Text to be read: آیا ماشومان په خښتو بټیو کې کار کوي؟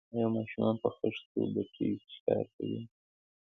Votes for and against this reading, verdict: 3, 0, accepted